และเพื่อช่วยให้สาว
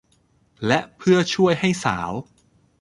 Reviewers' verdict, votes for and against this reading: accepted, 2, 0